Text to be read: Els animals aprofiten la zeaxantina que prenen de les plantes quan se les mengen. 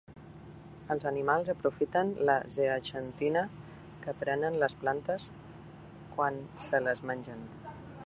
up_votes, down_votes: 0, 2